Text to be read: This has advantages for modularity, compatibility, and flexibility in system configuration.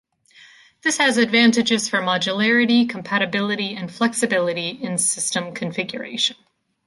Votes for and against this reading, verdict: 2, 0, accepted